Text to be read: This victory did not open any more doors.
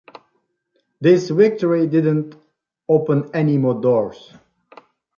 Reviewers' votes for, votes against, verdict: 2, 1, accepted